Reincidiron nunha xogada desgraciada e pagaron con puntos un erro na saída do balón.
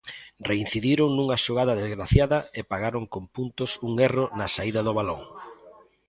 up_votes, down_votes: 2, 0